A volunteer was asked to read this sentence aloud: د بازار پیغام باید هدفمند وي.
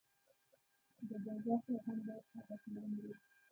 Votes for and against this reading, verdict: 1, 2, rejected